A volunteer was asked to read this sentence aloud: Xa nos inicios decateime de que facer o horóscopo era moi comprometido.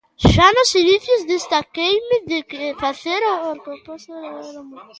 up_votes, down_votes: 0, 2